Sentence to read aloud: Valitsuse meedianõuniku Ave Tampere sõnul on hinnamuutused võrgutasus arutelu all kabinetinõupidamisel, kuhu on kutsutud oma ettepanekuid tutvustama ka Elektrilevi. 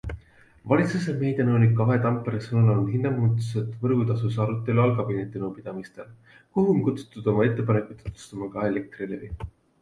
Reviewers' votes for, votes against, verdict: 2, 1, accepted